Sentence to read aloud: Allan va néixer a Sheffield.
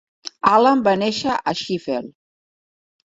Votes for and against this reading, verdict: 0, 2, rejected